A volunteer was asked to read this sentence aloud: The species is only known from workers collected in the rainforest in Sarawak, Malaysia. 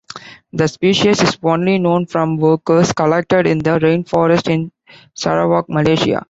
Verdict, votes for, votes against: accepted, 2, 0